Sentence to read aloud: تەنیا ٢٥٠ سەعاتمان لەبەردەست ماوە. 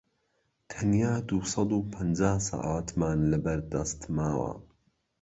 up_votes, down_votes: 0, 2